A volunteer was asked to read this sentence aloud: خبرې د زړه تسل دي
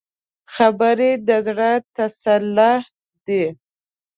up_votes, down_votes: 0, 2